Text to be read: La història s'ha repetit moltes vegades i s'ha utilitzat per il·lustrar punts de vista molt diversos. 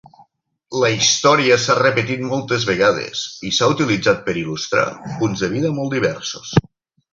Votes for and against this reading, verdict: 0, 4, rejected